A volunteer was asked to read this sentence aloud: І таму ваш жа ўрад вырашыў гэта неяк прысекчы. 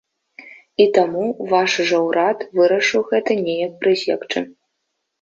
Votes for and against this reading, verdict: 2, 0, accepted